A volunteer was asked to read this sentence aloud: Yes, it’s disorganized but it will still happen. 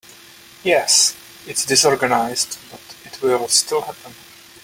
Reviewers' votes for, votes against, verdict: 2, 0, accepted